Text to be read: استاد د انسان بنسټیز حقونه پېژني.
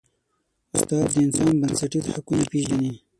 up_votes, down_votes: 0, 6